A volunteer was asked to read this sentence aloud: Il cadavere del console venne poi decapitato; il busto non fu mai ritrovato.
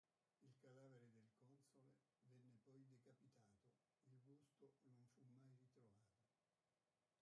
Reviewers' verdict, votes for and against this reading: rejected, 0, 2